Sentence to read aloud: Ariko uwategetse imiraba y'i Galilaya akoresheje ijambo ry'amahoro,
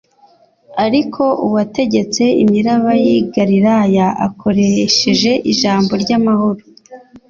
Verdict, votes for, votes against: accepted, 2, 0